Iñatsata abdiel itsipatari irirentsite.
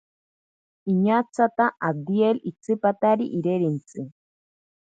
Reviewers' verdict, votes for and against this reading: accepted, 2, 0